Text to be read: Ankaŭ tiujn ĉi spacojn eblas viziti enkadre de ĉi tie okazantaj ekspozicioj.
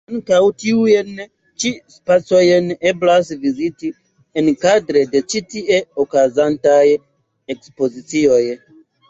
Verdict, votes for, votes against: accepted, 2, 0